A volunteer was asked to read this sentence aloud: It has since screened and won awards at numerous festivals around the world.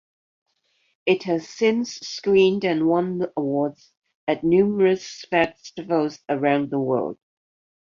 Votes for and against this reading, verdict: 2, 0, accepted